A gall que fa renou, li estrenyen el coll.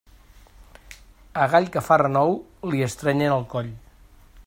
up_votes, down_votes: 2, 0